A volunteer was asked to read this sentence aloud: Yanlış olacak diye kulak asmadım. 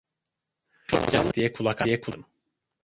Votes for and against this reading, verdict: 0, 2, rejected